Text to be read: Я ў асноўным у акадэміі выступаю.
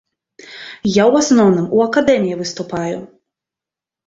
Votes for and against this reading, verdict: 2, 0, accepted